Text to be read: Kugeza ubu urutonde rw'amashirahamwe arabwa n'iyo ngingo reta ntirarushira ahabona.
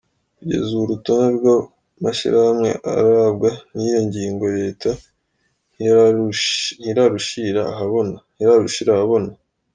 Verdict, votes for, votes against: rejected, 1, 2